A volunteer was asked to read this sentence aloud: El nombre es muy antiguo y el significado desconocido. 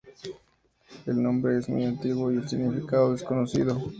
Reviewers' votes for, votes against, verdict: 2, 0, accepted